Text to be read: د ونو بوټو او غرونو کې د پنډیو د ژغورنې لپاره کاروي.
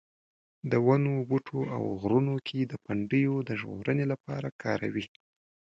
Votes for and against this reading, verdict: 2, 0, accepted